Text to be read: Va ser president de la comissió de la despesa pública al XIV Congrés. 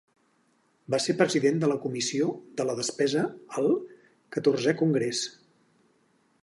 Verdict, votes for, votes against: rejected, 0, 4